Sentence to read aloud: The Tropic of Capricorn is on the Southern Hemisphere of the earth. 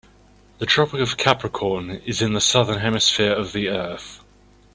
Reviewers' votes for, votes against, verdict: 1, 2, rejected